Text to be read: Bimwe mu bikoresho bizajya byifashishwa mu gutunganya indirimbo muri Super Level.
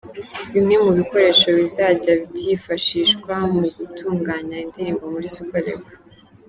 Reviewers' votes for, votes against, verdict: 3, 0, accepted